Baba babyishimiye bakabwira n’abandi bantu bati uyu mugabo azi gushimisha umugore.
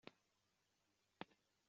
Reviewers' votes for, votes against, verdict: 0, 2, rejected